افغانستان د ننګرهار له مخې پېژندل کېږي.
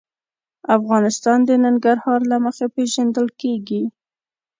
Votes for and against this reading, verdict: 2, 0, accepted